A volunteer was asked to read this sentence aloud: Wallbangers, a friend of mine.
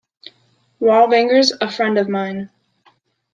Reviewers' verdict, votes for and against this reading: accepted, 2, 1